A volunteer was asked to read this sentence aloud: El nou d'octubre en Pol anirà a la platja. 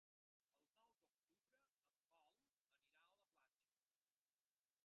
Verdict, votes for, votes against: rejected, 0, 2